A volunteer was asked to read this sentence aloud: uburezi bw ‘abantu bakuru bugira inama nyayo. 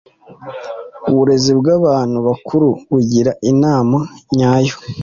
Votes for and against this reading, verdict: 2, 0, accepted